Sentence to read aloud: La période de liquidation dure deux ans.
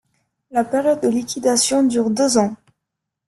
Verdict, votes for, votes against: accepted, 2, 1